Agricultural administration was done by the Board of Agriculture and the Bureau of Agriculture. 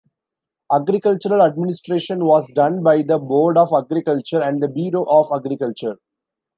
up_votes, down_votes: 1, 2